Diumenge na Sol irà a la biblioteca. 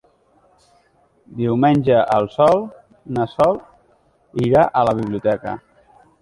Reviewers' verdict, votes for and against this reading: rejected, 0, 2